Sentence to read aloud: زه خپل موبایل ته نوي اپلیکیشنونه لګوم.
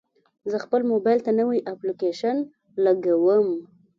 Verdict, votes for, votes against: accepted, 2, 0